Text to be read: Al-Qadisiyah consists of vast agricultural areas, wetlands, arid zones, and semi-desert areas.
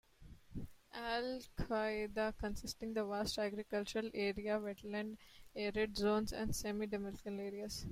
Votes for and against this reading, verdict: 2, 1, accepted